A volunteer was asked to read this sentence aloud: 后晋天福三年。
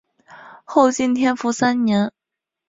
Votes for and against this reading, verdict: 4, 0, accepted